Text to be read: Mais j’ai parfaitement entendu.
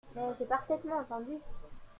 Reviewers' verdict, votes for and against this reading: accepted, 2, 0